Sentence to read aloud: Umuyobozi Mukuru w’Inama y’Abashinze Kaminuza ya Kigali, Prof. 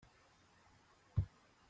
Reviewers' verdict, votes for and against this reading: rejected, 0, 2